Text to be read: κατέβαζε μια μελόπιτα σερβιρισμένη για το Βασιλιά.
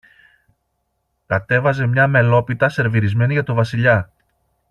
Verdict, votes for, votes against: accepted, 2, 0